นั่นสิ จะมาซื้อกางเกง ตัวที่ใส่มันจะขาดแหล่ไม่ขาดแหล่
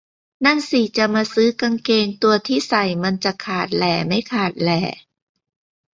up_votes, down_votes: 2, 0